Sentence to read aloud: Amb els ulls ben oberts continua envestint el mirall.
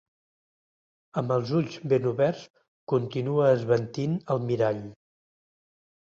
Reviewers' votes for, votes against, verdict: 1, 2, rejected